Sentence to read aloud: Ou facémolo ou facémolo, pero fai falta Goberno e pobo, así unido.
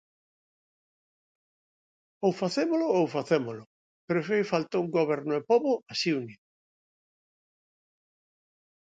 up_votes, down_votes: 0, 2